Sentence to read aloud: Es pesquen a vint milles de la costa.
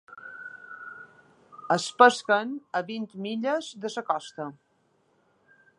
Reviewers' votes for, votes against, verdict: 1, 2, rejected